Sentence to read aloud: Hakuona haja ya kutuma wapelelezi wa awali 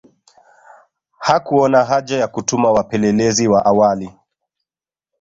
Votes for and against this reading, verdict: 2, 0, accepted